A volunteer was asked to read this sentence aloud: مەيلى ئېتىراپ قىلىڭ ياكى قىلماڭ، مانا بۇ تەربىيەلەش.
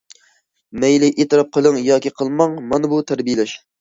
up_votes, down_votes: 2, 0